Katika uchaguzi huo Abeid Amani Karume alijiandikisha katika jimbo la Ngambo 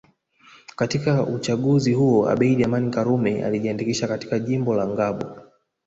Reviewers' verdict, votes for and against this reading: accepted, 2, 0